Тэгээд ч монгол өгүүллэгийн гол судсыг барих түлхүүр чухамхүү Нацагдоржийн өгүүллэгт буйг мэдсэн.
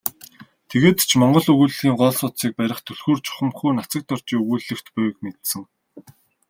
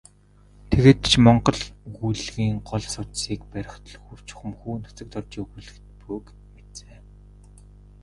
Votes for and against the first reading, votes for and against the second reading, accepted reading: 2, 0, 2, 2, first